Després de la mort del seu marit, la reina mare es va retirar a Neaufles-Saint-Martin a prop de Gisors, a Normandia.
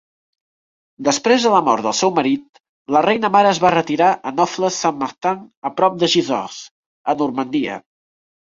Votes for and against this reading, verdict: 2, 1, accepted